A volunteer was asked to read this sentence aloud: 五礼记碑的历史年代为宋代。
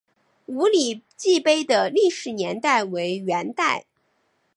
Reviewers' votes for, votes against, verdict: 1, 3, rejected